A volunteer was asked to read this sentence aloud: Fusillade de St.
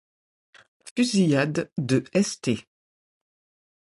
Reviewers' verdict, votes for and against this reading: rejected, 1, 2